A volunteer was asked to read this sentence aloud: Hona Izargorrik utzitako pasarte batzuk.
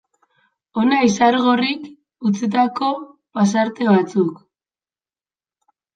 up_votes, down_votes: 2, 0